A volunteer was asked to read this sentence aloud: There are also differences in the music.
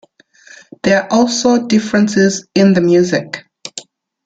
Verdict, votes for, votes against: rejected, 0, 2